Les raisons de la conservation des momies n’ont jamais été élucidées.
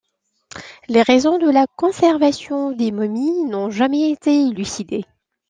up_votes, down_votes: 2, 0